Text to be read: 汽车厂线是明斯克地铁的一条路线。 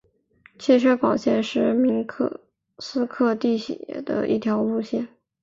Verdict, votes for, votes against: rejected, 1, 2